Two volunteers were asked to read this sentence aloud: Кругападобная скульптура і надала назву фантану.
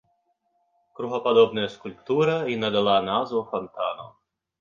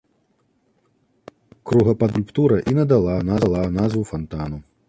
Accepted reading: first